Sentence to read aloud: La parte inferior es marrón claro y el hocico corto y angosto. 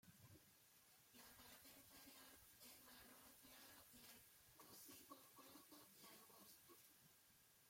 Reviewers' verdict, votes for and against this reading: rejected, 0, 2